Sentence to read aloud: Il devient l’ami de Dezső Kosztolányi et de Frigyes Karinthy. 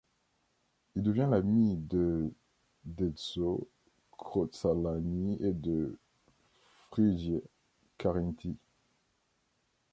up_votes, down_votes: 0, 2